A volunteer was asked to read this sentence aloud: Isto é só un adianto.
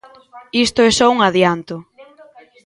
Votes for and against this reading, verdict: 1, 2, rejected